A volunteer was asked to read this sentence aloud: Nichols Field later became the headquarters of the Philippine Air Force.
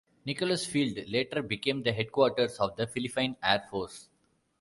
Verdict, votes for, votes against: rejected, 1, 2